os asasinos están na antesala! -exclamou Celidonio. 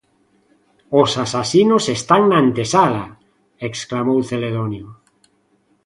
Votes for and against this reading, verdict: 1, 2, rejected